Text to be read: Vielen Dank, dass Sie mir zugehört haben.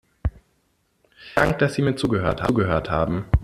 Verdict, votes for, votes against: rejected, 0, 2